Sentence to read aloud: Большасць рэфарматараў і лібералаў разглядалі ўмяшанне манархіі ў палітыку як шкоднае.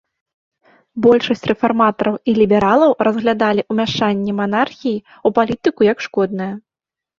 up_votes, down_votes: 2, 0